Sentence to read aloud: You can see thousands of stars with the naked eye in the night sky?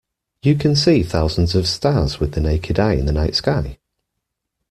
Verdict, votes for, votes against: accepted, 2, 1